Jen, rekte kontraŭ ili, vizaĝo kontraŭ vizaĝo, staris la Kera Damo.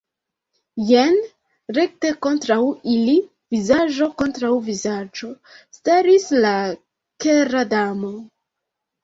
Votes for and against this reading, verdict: 1, 2, rejected